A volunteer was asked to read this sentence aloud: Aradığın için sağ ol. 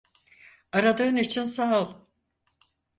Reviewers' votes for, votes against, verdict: 4, 0, accepted